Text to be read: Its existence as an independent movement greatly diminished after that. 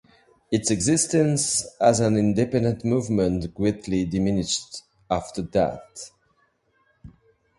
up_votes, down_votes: 1, 2